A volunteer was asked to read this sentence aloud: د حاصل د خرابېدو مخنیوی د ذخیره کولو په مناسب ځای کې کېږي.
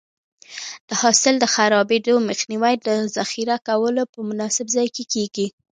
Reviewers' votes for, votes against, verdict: 0, 2, rejected